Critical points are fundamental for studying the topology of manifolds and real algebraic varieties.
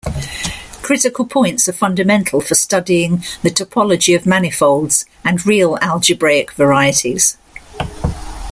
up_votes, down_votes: 1, 2